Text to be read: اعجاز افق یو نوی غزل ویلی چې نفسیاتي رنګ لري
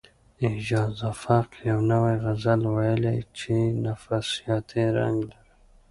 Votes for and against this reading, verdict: 0, 2, rejected